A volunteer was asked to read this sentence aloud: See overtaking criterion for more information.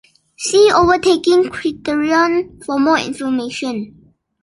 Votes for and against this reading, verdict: 2, 1, accepted